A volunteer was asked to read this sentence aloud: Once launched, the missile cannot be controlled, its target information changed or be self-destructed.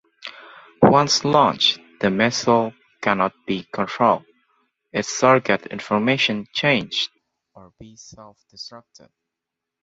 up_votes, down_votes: 2, 1